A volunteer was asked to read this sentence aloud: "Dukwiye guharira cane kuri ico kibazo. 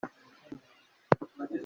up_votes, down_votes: 0, 2